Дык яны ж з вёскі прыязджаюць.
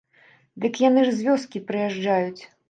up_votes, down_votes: 2, 0